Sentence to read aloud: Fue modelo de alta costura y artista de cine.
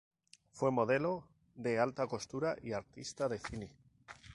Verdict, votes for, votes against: accepted, 2, 0